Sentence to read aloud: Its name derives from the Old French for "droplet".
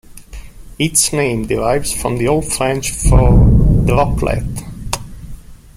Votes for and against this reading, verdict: 2, 0, accepted